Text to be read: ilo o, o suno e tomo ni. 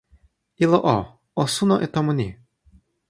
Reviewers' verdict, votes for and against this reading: accepted, 2, 0